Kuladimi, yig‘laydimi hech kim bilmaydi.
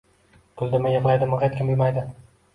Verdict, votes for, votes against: rejected, 1, 2